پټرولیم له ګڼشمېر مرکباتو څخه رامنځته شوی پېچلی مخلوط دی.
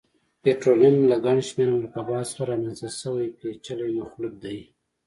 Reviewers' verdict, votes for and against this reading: accepted, 2, 0